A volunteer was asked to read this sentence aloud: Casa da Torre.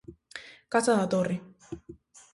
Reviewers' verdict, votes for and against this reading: accepted, 2, 0